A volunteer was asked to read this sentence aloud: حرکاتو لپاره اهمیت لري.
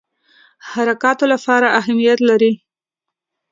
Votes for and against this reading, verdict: 2, 0, accepted